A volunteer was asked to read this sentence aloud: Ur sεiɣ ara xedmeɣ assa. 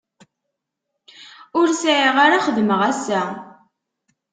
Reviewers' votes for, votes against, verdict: 2, 0, accepted